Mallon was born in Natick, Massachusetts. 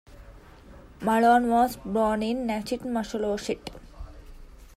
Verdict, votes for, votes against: rejected, 0, 2